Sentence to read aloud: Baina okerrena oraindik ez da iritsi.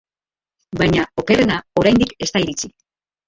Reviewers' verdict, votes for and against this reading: rejected, 1, 2